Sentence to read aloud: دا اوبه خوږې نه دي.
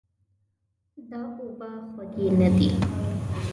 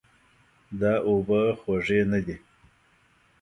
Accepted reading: second